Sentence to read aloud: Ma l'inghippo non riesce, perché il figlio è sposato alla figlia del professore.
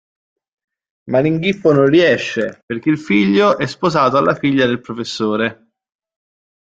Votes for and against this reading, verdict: 2, 0, accepted